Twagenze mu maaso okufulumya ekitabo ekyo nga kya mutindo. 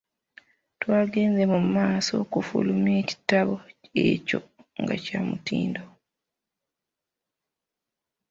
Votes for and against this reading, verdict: 2, 0, accepted